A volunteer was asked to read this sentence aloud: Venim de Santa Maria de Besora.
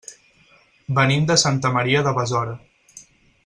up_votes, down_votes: 6, 0